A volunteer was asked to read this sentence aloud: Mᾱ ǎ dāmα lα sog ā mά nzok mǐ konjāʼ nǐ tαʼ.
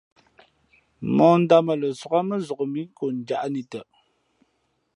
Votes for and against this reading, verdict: 2, 0, accepted